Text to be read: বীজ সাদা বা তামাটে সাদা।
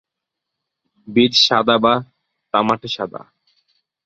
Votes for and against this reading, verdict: 2, 1, accepted